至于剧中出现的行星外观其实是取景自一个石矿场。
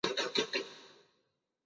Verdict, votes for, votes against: rejected, 1, 3